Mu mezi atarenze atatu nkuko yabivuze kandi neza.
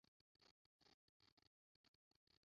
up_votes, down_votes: 0, 2